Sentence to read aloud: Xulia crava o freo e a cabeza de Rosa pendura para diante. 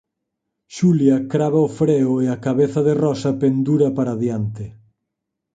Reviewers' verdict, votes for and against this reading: accepted, 6, 0